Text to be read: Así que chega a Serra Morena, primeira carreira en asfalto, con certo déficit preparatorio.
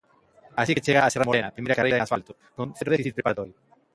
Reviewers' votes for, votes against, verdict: 0, 2, rejected